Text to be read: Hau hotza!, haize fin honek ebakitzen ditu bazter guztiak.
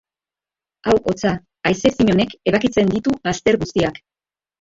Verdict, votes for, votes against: rejected, 0, 2